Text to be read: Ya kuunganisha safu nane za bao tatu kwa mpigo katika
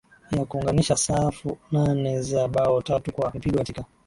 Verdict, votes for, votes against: accepted, 3, 0